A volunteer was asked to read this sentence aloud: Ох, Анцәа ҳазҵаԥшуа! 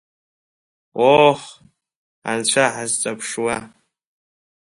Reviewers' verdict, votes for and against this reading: accepted, 2, 1